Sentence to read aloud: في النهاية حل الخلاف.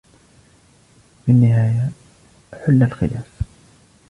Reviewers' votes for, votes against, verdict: 2, 0, accepted